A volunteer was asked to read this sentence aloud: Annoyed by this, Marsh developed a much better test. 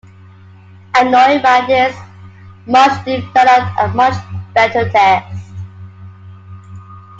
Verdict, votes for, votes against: accepted, 2, 1